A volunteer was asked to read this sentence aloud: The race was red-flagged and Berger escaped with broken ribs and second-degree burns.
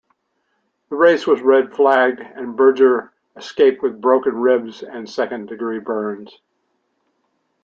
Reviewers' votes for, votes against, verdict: 2, 0, accepted